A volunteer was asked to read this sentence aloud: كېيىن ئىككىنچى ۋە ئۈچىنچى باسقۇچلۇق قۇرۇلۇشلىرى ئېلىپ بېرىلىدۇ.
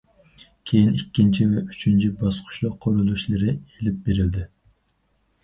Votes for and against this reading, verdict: 0, 4, rejected